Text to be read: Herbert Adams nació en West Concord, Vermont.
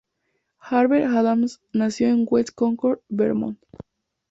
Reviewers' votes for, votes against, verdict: 2, 0, accepted